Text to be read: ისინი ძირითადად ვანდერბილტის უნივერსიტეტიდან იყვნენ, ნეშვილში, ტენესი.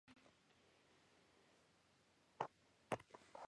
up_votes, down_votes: 0, 2